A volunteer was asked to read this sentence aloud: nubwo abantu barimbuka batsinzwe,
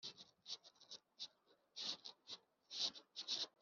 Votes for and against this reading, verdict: 0, 2, rejected